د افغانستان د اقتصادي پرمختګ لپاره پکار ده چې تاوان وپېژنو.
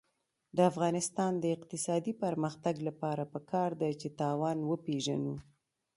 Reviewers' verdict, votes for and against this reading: accepted, 2, 1